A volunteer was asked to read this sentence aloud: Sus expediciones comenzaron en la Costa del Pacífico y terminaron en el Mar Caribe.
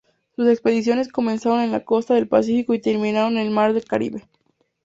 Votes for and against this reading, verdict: 2, 0, accepted